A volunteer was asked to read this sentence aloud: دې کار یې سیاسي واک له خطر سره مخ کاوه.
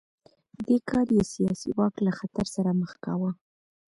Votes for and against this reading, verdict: 1, 2, rejected